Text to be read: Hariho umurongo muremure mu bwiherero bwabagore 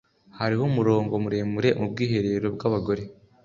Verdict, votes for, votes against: accepted, 2, 0